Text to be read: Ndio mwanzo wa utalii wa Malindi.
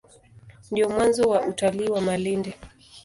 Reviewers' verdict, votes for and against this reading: accepted, 2, 0